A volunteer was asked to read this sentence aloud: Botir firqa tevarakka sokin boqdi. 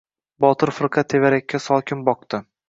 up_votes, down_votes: 2, 0